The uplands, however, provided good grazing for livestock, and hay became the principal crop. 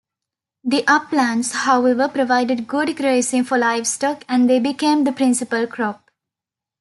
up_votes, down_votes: 1, 2